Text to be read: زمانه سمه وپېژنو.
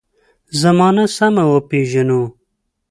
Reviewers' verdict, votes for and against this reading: accepted, 2, 0